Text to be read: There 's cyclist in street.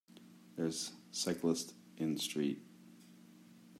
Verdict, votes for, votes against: accepted, 2, 0